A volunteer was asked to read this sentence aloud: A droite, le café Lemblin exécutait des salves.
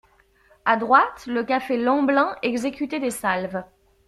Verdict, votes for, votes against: accepted, 2, 0